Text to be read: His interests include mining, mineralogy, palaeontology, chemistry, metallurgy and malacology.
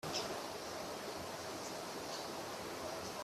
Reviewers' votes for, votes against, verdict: 0, 2, rejected